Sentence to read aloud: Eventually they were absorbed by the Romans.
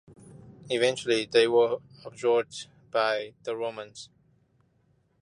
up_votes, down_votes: 1, 2